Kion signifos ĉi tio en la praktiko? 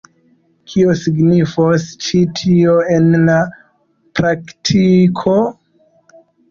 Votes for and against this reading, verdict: 0, 2, rejected